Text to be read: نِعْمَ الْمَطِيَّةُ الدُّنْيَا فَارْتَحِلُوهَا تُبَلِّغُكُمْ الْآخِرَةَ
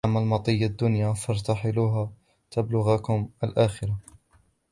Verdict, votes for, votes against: rejected, 0, 2